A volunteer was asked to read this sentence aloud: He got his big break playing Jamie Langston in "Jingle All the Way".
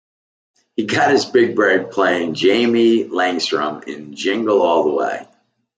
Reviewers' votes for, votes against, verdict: 1, 2, rejected